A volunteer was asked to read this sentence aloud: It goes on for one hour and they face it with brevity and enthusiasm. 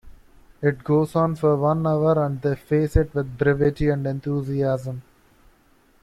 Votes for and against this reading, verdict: 1, 2, rejected